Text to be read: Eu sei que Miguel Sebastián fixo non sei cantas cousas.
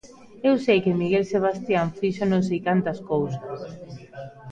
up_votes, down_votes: 0, 2